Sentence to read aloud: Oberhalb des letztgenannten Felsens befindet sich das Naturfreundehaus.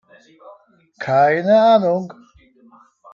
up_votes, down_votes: 0, 3